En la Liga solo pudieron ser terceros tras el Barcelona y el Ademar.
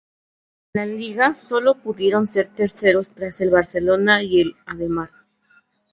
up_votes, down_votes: 0, 2